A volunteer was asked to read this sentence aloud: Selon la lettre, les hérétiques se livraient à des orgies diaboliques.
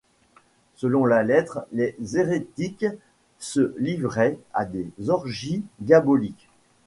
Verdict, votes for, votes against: accepted, 2, 0